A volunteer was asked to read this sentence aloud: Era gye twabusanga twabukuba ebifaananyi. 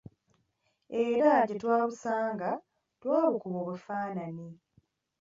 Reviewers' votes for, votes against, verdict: 1, 2, rejected